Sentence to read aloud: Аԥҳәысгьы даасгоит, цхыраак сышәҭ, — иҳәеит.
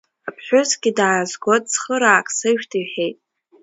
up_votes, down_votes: 2, 0